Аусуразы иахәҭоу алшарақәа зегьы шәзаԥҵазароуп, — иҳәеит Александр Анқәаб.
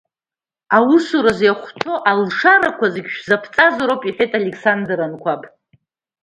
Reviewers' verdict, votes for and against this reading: accepted, 2, 0